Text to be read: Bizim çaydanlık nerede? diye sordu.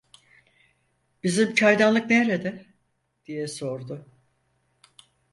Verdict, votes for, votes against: accepted, 4, 0